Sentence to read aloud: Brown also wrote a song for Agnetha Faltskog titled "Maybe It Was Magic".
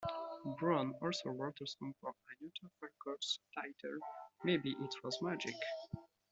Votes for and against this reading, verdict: 2, 1, accepted